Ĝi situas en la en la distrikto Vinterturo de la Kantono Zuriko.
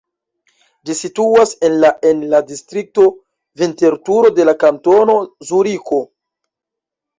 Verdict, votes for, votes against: accepted, 2, 1